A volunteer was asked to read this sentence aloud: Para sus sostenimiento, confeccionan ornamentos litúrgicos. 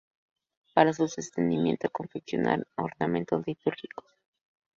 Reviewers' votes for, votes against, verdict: 0, 2, rejected